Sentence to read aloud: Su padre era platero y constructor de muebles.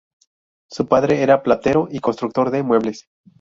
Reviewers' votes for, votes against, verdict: 8, 0, accepted